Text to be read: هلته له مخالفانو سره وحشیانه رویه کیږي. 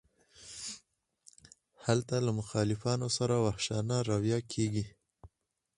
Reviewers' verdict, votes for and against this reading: accepted, 4, 2